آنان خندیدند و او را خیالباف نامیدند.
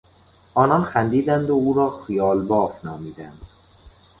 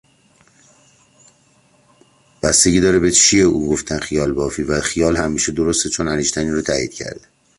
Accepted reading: first